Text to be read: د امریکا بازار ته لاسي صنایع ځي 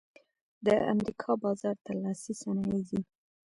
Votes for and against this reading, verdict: 0, 2, rejected